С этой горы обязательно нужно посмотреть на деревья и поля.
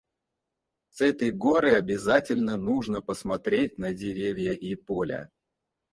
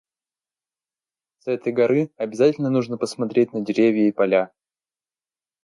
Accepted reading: second